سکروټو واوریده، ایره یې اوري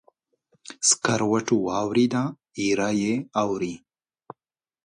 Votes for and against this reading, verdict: 2, 0, accepted